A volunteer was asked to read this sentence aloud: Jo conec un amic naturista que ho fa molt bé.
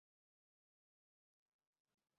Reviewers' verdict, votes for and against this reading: rejected, 0, 4